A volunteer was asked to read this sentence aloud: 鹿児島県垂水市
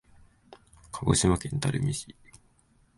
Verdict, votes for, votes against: rejected, 1, 2